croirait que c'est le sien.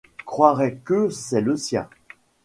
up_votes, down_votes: 2, 0